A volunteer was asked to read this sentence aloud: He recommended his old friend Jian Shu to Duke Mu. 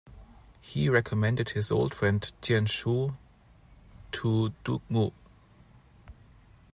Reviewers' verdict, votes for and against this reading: accepted, 2, 0